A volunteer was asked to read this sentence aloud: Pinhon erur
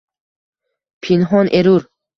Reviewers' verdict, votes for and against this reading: rejected, 1, 2